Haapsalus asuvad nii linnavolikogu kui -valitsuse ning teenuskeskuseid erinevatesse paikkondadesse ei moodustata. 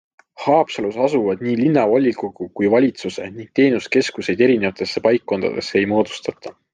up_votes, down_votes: 2, 0